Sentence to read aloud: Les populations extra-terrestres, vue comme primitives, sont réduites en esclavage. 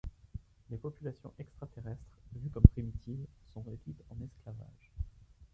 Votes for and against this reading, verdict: 1, 2, rejected